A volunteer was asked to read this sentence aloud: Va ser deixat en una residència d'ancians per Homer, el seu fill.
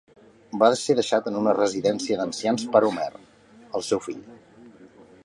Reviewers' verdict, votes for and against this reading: accepted, 2, 0